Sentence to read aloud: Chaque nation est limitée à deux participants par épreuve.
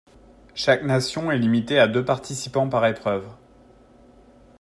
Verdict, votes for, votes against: accepted, 2, 0